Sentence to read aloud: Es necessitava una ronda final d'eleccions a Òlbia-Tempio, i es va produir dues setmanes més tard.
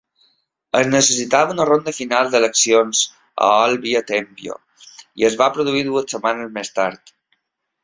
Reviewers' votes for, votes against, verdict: 2, 0, accepted